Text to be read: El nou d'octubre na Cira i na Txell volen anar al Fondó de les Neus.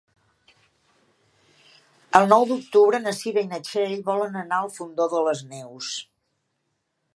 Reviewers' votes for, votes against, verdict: 3, 0, accepted